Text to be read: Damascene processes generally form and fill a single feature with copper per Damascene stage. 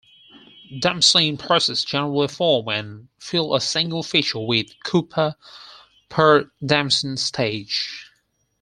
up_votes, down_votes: 2, 4